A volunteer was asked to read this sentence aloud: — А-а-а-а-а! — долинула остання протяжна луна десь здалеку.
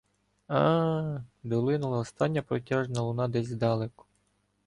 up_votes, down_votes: 2, 0